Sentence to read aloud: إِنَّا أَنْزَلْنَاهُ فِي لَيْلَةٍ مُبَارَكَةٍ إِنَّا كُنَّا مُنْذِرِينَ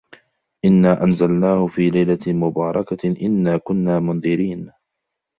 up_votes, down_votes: 3, 0